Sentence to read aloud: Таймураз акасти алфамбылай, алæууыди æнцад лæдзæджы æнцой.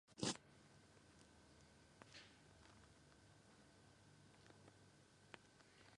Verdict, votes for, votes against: rejected, 1, 2